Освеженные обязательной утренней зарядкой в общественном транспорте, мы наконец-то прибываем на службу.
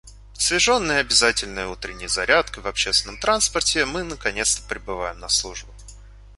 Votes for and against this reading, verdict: 1, 2, rejected